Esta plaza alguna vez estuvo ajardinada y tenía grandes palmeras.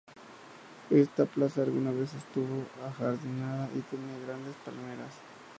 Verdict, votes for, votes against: accepted, 2, 0